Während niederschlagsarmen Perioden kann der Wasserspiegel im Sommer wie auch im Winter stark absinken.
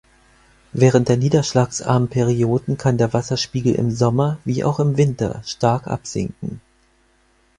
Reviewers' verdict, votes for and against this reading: rejected, 0, 4